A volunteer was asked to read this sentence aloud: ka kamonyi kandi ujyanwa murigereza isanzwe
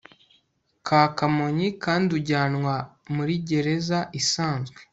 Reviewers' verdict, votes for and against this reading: accepted, 2, 0